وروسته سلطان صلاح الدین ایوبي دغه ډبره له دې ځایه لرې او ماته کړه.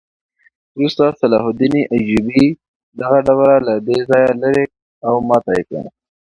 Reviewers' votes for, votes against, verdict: 2, 0, accepted